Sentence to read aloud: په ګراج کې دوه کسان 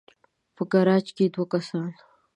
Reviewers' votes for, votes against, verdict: 2, 0, accepted